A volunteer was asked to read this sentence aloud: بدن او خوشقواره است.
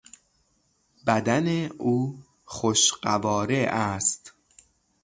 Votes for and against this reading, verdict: 0, 3, rejected